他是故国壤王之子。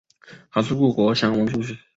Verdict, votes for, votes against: rejected, 1, 2